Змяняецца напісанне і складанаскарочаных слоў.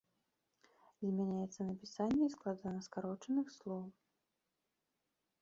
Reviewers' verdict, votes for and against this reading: accepted, 2, 0